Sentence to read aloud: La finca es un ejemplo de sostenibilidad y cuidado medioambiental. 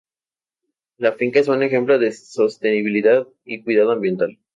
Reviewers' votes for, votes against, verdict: 0, 2, rejected